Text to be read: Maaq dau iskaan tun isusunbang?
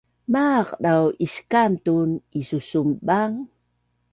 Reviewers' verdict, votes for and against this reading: accepted, 2, 0